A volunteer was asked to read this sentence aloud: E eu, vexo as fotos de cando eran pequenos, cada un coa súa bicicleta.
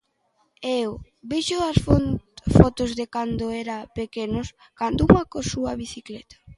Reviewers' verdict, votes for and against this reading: rejected, 0, 2